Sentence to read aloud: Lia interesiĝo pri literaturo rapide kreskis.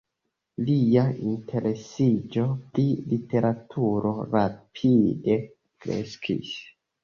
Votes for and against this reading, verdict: 1, 2, rejected